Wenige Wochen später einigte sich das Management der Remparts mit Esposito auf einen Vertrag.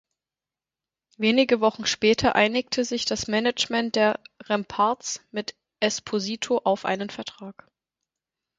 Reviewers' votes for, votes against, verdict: 4, 2, accepted